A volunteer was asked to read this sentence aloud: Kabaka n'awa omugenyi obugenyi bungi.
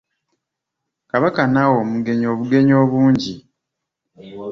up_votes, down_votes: 0, 2